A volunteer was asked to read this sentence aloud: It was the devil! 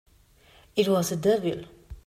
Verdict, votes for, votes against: rejected, 0, 2